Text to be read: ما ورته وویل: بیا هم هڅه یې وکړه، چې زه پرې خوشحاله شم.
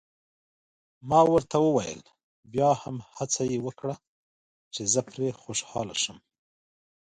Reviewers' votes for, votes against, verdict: 0, 2, rejected